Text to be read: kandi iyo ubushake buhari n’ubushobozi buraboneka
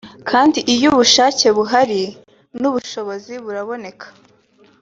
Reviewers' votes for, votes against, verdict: 3, 0, accepted